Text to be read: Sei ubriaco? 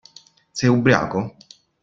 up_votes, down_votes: 2, 0